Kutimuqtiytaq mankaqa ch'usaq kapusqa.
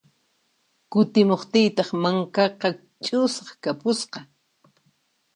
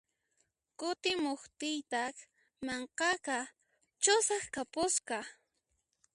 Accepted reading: first